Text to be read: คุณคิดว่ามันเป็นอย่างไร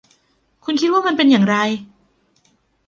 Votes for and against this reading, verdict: 2, 0, accepted